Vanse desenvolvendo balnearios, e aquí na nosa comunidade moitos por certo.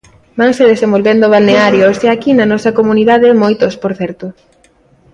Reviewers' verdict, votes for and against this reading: accepted, 2, 0